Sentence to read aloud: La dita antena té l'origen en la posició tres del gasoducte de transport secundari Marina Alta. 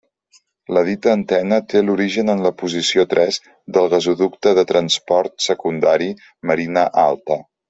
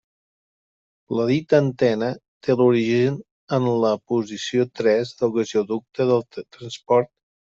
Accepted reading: first